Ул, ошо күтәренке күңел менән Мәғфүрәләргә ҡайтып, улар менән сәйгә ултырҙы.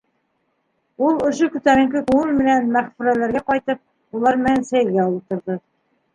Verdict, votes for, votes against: accepted, 3, 0